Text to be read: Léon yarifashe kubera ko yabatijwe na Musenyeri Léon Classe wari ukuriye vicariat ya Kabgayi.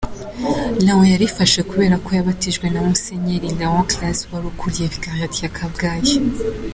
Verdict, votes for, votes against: accepted, 2, 1